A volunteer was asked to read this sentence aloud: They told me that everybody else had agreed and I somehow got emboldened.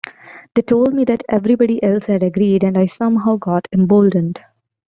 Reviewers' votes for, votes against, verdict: 2, 0, accepted